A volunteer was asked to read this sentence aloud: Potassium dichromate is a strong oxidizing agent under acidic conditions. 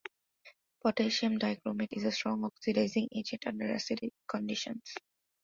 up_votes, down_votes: 2, 0